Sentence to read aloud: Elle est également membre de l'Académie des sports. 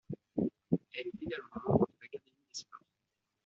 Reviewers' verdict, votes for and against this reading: rejected, 0, 2